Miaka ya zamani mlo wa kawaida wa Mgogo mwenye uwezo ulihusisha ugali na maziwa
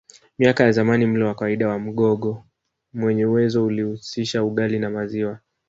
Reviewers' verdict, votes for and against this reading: rejected, 1, 2